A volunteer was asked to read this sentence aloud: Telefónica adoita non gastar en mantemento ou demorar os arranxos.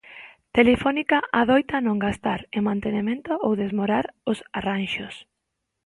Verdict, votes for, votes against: rejected, 0, 2